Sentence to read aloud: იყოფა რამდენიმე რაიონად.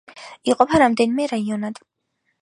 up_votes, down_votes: 2, 1